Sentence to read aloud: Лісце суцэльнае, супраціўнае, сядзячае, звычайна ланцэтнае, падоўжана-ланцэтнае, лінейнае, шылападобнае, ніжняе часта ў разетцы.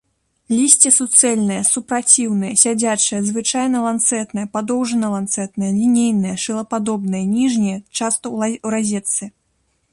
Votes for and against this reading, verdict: 0, 2, rejected